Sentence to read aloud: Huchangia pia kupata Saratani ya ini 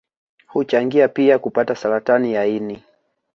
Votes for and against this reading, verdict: 2, 1, accepted